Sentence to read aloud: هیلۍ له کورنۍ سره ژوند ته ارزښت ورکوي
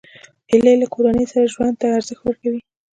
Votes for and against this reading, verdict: 2, 0, accepted